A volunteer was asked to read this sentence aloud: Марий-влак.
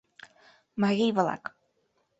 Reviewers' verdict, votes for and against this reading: accepted, 2, 0